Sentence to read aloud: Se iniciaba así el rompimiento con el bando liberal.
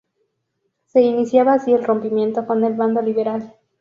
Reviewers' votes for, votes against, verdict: 2, 0, accepted